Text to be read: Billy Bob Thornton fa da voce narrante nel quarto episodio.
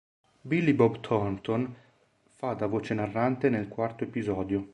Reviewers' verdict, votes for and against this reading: accepted, 2, 0